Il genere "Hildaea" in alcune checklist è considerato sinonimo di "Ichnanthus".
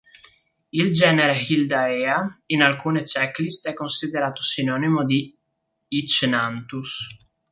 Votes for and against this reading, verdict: 1, 2, rejected